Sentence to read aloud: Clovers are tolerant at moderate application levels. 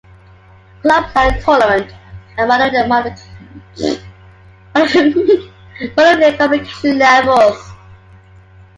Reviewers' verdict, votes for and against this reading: rejected, 0, 2